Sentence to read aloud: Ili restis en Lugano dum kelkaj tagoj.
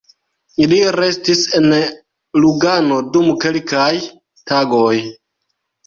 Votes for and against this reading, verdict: 0, 2, rejected